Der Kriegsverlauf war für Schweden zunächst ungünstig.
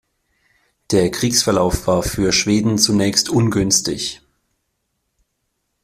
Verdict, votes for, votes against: accepted, 2, 0